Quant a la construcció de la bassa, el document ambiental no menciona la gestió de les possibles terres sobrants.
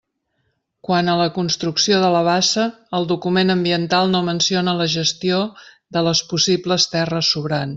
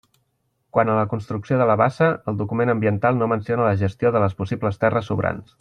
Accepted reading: second